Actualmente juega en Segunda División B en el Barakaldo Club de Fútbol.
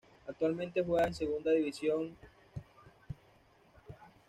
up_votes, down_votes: 1, 2